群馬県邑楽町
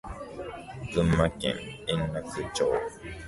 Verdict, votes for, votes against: rejected, 0, 2